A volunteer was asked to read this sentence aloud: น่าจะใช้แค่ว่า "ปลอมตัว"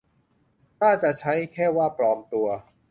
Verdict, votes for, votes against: accepted, 2, 0